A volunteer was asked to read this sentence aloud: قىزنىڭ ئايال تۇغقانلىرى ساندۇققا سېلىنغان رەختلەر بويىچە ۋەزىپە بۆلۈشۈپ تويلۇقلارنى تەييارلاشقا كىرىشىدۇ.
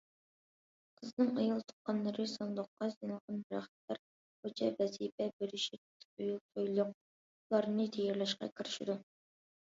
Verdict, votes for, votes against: rejected, 1, 2